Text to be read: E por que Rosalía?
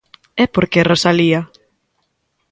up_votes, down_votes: 2, 0